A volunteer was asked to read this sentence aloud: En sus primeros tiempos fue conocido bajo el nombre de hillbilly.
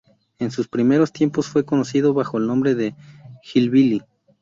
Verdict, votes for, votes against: accepted, 2, 0